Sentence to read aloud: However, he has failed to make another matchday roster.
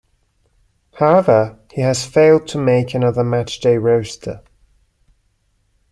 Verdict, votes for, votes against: accepted, 2, 0